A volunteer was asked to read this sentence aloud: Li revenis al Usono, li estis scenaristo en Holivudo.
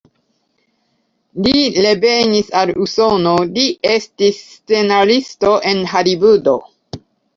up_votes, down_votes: 0, 2